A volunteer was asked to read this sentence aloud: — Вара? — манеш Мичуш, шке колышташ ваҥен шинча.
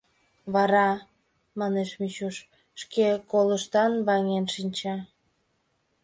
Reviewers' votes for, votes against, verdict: 0, 2, rejected